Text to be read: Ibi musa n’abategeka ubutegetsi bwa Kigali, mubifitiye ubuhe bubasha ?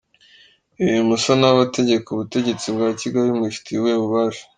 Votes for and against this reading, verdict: 2, 0, accepted